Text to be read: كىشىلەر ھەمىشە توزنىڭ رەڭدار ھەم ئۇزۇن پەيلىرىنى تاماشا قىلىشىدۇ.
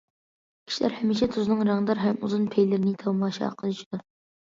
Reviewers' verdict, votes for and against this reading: accepted, 2, 0